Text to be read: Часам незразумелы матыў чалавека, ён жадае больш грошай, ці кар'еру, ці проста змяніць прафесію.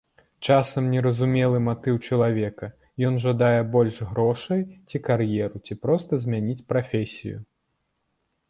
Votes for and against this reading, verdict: 1, 2, rejected